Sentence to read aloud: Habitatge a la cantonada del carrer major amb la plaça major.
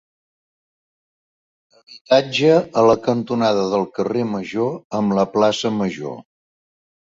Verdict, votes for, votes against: rejected, 1, 2